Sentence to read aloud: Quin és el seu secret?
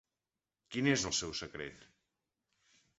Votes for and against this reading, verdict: 4, 0, accepted